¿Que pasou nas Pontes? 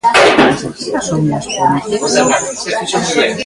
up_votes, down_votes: 0, 2